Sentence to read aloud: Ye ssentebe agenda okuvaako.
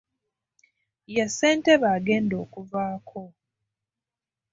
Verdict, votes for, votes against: accepted, 2, 0